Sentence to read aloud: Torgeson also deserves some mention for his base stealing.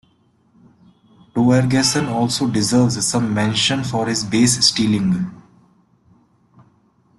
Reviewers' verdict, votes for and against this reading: accepted, 2, 0